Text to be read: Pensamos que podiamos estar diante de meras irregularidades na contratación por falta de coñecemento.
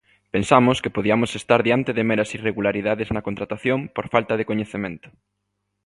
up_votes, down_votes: 2, 0